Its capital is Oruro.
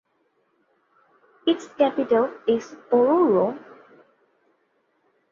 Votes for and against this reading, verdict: 2, 0, accepted